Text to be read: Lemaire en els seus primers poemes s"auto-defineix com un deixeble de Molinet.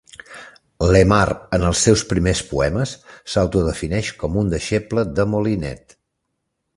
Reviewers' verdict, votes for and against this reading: accepted, 2, 0